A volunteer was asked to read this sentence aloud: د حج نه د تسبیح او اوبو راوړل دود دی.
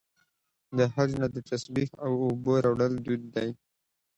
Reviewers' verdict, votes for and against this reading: accepted, 2, 0